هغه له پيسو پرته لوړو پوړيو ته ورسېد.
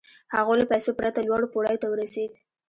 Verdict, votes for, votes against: rejected, 1, 2